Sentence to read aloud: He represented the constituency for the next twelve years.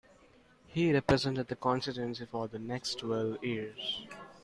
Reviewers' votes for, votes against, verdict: 2, 1, accepted